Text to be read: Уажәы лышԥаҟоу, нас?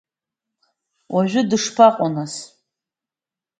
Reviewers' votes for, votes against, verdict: 2, 1, accepted